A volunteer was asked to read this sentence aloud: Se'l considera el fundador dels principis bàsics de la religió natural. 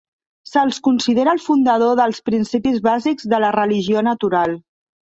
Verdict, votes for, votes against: rejected, 1, 2